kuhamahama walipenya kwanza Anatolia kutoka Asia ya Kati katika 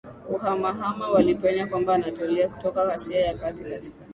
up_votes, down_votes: 2, 0